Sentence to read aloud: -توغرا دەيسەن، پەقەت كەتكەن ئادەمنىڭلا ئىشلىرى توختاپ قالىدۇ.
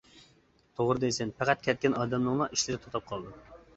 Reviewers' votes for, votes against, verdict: 2, 1, accepted